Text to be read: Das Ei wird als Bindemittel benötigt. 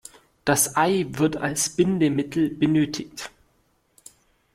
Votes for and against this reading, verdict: 2, 0, accepted